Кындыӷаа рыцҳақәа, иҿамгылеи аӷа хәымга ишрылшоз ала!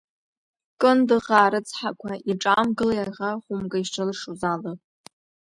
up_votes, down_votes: 2, 1